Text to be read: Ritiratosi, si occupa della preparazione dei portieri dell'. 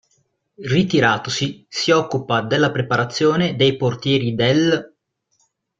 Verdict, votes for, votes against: rejected, 0, 2